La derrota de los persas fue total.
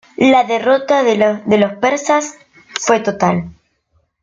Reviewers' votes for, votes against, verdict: 1, 2, rejected